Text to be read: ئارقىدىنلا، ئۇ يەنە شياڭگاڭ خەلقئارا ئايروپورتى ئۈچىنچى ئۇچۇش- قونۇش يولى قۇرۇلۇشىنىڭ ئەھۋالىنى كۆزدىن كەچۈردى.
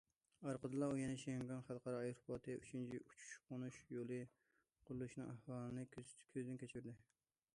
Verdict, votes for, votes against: rejected, 1, 2